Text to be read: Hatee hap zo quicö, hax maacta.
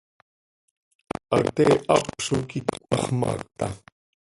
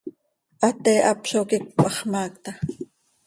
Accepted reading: second